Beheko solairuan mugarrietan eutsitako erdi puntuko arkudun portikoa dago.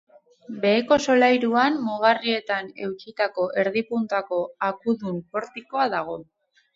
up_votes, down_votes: 2, 2